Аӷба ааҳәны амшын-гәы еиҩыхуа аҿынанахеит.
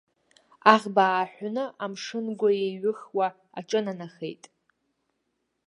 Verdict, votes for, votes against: accepted, 2, 0